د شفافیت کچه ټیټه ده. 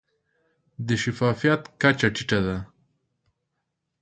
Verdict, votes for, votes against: accepted, 2, 0